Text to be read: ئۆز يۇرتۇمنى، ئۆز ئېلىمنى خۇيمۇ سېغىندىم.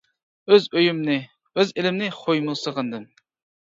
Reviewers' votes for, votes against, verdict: 1, 2, rejected